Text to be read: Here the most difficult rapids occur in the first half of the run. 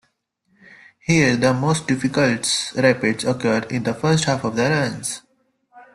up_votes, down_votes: 1, 2